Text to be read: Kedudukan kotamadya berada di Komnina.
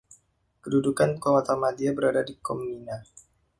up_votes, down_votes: 1, 2